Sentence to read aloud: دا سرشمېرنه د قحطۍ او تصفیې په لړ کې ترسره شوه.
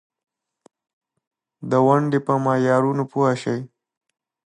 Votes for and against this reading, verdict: 0, 2, rejected